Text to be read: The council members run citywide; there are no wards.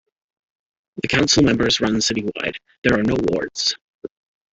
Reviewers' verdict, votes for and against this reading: accepted, 2, 1